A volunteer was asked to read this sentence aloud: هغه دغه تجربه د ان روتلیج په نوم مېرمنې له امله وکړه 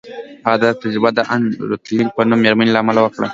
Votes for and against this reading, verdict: 1, 2, rejected